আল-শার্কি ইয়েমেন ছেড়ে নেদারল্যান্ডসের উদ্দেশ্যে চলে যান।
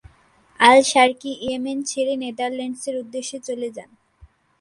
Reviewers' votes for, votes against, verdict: 2, 0, accepted